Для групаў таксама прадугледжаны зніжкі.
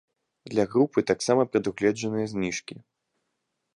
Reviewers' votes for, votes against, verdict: 1, 2, rejected